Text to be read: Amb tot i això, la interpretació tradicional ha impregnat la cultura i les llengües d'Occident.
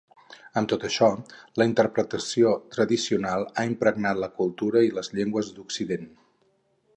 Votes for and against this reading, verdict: 0, 4, rejected